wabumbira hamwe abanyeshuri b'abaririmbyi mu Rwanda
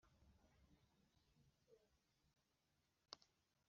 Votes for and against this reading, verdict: 0, 2, rejected